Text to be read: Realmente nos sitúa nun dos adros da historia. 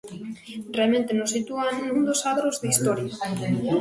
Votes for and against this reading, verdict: 0, 2, rejected